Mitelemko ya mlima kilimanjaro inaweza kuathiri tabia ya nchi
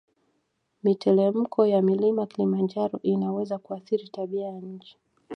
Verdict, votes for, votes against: rejected, 0, 2